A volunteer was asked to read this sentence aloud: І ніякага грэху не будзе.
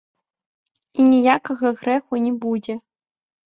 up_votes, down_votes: 1, 2